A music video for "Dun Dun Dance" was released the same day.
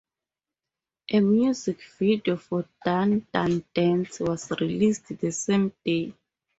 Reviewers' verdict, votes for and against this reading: accepted, 4, 0